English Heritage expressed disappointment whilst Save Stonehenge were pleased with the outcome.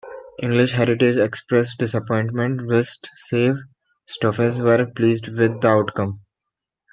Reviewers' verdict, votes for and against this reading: rejected, 1, 2